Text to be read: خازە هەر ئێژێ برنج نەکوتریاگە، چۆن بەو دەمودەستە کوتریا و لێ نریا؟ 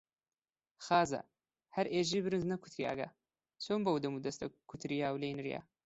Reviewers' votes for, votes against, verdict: 2, 0, accepted